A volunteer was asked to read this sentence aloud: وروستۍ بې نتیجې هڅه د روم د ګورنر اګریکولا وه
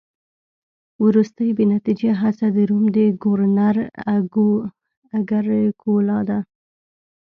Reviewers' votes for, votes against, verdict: 1, 2, rejected